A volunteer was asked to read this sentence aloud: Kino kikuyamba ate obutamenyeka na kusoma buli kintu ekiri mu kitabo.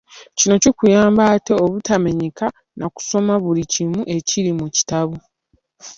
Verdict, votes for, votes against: rejected, 0, 2